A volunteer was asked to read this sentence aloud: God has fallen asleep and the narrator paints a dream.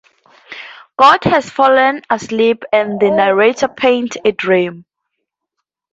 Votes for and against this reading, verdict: 2, 0, accepted